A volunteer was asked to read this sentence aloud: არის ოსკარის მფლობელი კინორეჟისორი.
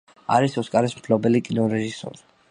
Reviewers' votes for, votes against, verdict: 2, 0, accepted